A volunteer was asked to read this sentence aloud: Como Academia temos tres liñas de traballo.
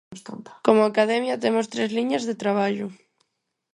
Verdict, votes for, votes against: rejected, 2, 4